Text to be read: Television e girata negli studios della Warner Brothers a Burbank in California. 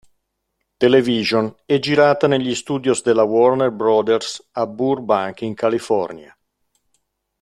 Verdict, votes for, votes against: accepted, 2, 1